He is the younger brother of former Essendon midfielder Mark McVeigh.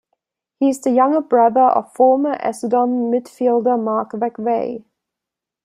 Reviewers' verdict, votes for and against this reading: accepted, 2, 0